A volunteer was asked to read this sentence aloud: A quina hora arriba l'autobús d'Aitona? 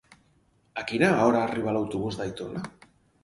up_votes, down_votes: 4, 0